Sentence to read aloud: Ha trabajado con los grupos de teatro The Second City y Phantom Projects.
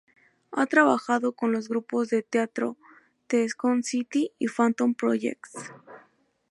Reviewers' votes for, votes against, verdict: 0, 2, rejected